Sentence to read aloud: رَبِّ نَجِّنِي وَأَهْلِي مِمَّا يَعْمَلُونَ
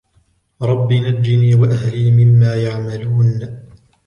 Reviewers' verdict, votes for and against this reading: accepted, 2, 0